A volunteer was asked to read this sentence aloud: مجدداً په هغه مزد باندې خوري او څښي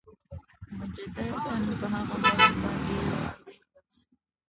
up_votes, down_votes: 1, 2